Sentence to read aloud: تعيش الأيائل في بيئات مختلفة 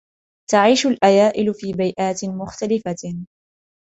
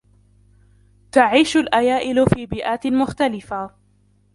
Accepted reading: first